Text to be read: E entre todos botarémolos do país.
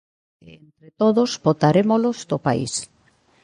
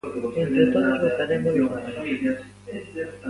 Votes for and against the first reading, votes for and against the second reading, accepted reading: 2, 1, 0, 2, first